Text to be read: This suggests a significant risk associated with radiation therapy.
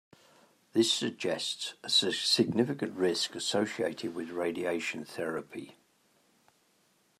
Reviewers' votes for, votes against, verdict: 0, 2, rejected